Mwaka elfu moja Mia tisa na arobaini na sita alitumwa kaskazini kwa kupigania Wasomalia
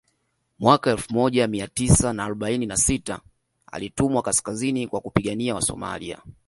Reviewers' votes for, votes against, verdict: 2, 0, accepted